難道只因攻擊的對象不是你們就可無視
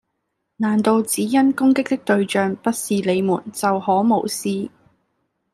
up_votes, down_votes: 2, 0